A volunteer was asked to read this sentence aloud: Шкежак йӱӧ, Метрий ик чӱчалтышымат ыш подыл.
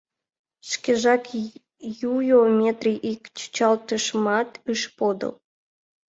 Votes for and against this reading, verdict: 2, 1, accepted